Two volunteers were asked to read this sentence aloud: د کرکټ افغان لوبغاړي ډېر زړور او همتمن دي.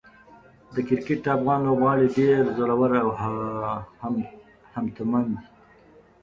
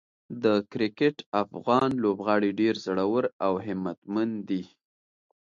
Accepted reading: second